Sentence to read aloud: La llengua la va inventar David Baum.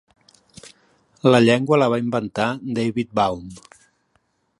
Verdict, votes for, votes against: accepted, 4, 0